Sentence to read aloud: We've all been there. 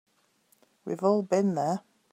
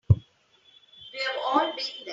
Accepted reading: first